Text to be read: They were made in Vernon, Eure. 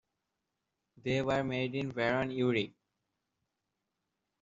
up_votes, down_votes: 2, 0